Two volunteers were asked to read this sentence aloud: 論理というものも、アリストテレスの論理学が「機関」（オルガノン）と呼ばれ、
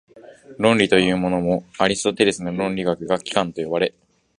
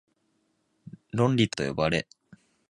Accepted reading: first